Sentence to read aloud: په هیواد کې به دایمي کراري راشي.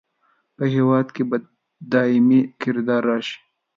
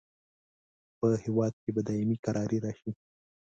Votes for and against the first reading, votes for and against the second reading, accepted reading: 1, 2, 2, 0, second